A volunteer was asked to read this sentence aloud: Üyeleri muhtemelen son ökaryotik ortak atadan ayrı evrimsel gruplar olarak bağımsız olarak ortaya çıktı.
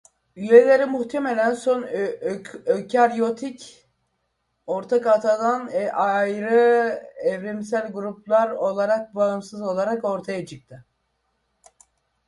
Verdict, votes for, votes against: rejected, 0, 2